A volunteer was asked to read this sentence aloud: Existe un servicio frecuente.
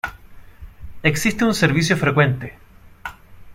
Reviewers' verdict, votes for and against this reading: accepted, 2, 0